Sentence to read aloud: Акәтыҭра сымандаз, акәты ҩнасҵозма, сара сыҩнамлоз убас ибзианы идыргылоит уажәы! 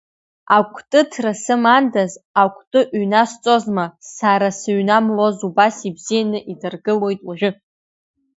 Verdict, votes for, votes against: accepted, 2, 1